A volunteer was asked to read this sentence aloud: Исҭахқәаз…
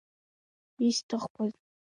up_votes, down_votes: 2, 0